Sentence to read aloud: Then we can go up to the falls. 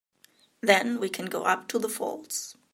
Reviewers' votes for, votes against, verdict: 2, 0, accepted